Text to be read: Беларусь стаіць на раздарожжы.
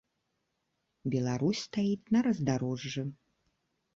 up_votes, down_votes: 2, 0